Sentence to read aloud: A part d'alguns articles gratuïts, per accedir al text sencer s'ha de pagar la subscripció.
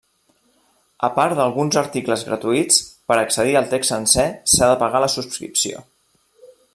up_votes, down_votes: 2, 0